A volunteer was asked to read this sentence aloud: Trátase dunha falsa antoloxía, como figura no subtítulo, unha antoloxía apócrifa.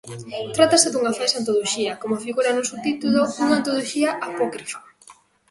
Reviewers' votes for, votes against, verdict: 1, 2, rejected